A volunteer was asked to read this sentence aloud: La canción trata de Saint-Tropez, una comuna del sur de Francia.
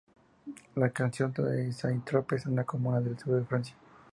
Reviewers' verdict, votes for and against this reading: accepted, 2, 0